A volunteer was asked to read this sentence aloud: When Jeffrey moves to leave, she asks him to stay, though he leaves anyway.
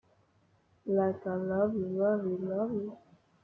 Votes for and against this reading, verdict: 0, 3, rejected